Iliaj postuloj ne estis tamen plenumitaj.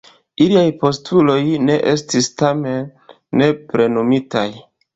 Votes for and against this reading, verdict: 0, 2, rejected